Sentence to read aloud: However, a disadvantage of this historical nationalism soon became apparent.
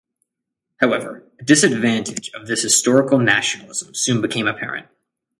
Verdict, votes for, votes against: accepted, 3, 0